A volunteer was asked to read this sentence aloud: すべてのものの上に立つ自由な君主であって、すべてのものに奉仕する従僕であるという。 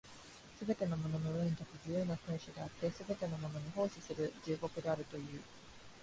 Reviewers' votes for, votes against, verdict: 0, 2, rejected